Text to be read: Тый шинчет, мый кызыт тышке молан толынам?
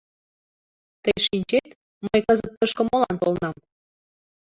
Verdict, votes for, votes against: accepted, 2, 1